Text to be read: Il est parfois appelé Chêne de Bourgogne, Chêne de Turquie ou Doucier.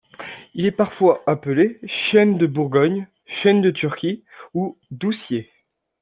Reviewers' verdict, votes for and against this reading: accepted, 2, 0